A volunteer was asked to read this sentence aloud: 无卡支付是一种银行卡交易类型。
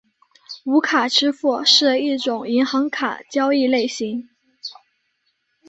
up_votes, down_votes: 5, 1